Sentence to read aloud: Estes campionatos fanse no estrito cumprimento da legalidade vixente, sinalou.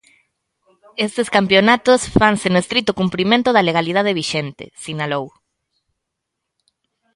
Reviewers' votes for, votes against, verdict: 2, 0, accepted